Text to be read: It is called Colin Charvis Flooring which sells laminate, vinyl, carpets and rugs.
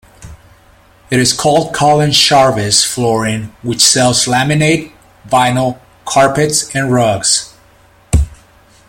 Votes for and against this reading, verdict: 2, 0, accepted